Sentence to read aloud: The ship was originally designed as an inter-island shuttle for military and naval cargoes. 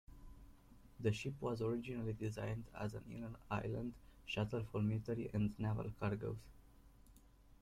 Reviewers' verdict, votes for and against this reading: rejected, 1, 2